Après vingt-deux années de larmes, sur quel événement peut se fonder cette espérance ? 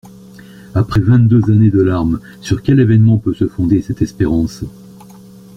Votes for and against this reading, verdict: 2, 1, accepted